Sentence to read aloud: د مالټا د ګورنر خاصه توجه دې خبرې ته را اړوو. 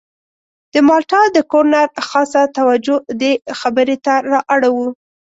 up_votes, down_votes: 2, 0